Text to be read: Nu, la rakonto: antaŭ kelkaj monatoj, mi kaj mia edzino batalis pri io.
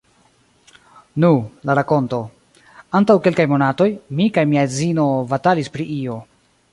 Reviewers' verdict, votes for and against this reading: rejected, 1, 2